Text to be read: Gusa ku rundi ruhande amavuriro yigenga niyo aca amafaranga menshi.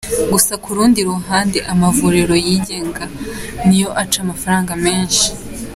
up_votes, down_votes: 3, 0